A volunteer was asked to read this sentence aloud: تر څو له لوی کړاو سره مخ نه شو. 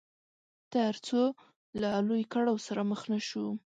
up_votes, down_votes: 2, 0